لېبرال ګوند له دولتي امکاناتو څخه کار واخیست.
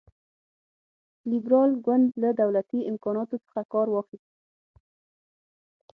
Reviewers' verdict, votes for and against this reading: rejected, 0, 6